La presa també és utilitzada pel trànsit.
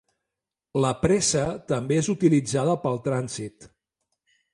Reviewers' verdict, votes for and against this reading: rejected, 1, 2